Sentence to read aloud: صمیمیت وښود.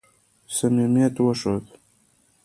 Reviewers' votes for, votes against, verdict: 0, 2, rejected